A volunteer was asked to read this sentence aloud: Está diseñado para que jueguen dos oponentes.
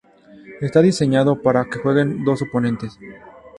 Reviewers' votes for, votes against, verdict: 2, 0, accepted